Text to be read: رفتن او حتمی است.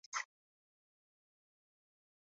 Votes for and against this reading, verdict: 0, 2, rejected